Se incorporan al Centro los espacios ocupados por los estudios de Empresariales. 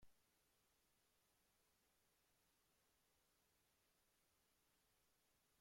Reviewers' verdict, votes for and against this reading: rejected, 0, 2